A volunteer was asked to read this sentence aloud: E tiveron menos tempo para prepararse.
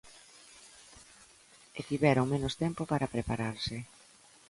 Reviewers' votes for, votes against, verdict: 2, 0, accepted